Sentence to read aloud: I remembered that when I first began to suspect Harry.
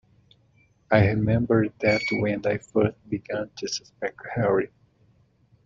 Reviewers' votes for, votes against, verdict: 2, 1, accepted